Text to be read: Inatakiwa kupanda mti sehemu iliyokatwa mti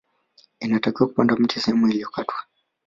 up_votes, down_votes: 0, 2